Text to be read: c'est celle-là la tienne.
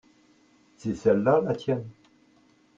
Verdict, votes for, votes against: rejected, 0, 2